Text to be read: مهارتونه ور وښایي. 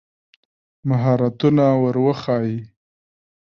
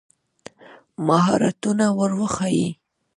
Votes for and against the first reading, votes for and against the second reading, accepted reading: 2, 1, 0, 2, first